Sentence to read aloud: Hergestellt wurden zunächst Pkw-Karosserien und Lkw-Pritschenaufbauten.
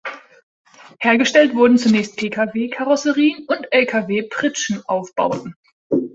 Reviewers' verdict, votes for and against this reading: accepted, 2, 0